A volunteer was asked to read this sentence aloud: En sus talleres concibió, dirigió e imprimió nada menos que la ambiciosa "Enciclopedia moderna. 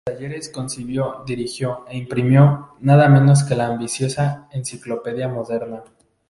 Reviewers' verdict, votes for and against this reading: rejected, 0, 2